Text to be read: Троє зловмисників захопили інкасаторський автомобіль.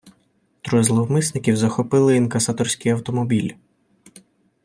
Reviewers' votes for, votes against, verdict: 2, 0, accepted